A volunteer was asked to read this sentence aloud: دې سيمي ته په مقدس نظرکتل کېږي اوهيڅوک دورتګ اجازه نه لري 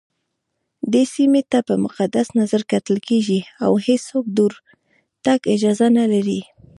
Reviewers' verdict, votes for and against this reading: rejected, 1, 2